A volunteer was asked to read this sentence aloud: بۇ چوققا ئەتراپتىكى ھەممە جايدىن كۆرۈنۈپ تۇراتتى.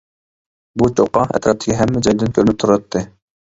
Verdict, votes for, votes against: rejected, 0, 2